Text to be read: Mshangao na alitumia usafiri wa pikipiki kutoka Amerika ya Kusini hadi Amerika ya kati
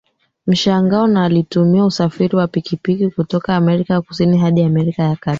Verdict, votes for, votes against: accepted, 2, 1